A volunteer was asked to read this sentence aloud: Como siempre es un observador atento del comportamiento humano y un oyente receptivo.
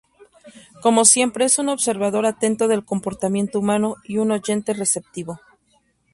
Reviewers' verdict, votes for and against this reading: accepted, 2, 0